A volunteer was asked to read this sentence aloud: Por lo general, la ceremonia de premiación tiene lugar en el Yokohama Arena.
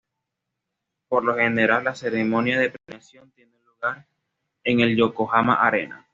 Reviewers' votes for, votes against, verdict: 2, 1, accepted